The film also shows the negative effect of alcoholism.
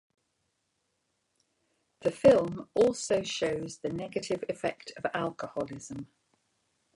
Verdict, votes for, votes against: accepted, 2, 1